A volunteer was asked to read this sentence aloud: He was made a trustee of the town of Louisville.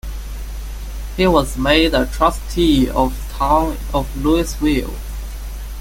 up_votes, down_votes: 1, 2